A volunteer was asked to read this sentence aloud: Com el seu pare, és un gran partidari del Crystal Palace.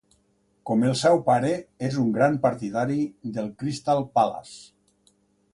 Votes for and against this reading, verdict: 3, 0, accepted